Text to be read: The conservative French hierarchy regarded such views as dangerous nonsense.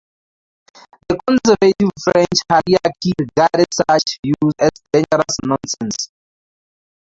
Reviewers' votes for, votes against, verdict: 0, 2, rejected